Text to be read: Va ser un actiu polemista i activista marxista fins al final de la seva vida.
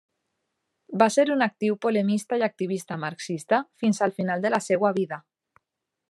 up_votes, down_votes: 1, 2